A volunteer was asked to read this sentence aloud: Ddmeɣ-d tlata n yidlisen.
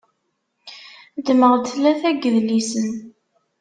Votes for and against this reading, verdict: 2, 0, accepted